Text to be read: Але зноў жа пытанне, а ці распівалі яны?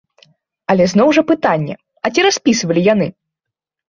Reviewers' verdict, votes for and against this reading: rejected, 1, 2